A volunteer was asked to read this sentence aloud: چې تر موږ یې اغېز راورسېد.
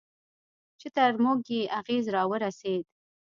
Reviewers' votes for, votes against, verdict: 2, 0, accepted